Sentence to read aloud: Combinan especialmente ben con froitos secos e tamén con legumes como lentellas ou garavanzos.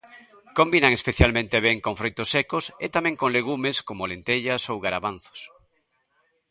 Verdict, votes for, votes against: accepted, 2, 0